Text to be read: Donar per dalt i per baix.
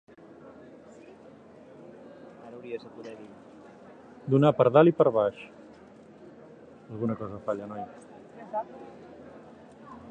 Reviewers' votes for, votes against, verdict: 0, 2, rejected